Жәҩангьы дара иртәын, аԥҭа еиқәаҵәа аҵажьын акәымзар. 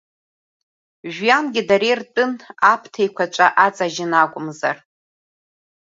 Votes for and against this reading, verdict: 2, 0, accepted